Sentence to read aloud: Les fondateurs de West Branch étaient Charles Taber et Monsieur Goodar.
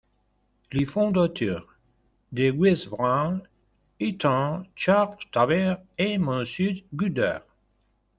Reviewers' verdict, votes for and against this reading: rejected, 0, 2